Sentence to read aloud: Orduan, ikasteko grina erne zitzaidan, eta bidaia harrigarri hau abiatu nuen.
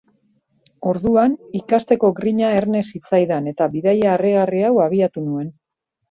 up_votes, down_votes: 2, 1